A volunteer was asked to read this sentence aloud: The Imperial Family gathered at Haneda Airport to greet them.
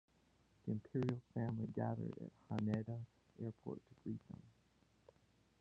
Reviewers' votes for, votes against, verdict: 0, 2, rejected